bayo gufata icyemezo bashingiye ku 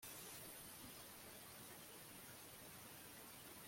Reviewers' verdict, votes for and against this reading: rejected, 1, 2